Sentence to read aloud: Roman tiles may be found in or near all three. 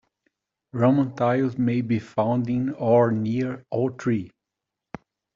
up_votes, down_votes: 2, 0